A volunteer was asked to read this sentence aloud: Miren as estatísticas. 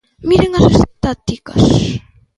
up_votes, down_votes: 0, 2